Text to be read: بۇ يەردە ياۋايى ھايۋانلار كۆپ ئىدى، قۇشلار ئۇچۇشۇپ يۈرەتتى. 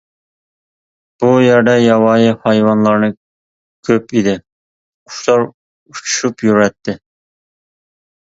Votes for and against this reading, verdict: 0, 2, rejected